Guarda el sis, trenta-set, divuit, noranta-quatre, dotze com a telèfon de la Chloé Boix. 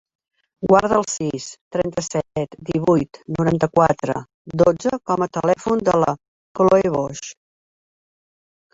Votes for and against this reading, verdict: 1, 2, rejected